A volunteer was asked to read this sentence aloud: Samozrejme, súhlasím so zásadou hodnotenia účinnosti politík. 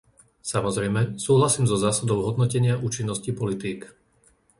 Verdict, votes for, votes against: accepted, 2, 0